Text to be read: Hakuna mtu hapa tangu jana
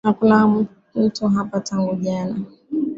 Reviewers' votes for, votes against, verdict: 2, 0, accepted